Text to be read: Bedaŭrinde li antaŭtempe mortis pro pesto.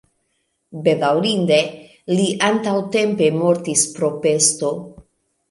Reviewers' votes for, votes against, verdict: 3, 0, accepted